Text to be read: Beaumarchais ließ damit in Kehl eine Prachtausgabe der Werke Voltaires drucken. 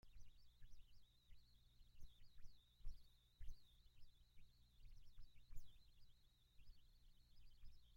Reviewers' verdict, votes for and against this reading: rejected, 0, 2